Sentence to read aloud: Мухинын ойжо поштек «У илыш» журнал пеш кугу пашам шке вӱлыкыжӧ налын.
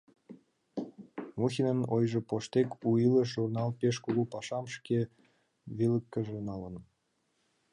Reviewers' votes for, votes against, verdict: 2, 0, accepted